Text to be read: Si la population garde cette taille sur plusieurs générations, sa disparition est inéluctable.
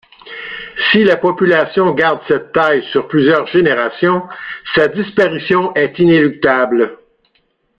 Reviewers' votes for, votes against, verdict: 2, 0, accepted